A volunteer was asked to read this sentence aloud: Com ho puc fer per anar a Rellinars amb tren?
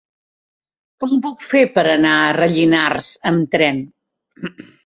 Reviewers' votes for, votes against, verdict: 1, 2, rejected